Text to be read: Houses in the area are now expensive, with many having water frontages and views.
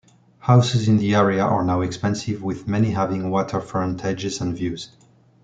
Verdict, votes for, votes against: rejected, 0, 2